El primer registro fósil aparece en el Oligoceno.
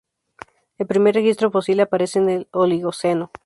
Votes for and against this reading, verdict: 0, 2, rejected